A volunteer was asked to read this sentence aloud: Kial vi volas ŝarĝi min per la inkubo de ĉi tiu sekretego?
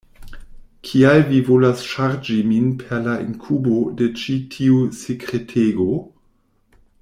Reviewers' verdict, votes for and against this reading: accepted, 2, 0